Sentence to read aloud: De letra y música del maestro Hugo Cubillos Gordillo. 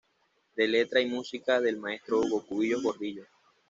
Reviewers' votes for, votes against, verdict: 2, 0, accepted